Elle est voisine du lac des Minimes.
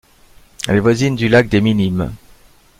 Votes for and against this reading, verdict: 1, 2, rejected